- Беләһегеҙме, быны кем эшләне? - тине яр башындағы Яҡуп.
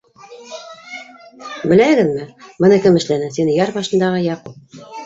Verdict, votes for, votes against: rejected, 1, 2